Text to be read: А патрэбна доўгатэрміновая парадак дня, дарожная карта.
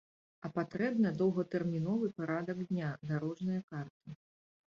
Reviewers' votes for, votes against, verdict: 1, 2, rejected